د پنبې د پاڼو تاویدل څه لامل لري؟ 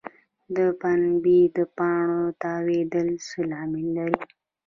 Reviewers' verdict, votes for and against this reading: rejected, 1, 2